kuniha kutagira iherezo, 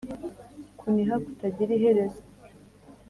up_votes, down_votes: 2, 0